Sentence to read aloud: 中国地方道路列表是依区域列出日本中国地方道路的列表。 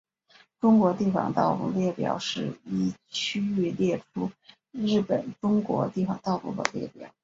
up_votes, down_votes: 4, 1